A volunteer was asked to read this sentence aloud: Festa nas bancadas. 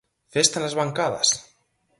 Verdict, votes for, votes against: accepted, 4, 0